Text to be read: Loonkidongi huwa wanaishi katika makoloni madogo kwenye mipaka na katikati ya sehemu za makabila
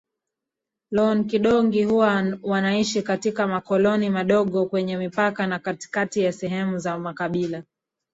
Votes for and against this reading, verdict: 2, 1, accepted